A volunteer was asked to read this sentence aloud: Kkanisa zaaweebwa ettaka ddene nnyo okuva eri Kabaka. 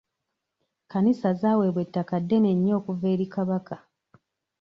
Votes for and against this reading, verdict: 1, 2, rejected